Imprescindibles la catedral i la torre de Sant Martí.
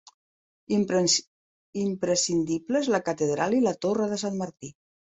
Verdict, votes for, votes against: rejected, 0, 2